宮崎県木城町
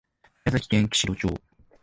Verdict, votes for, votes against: accepted, 2, 0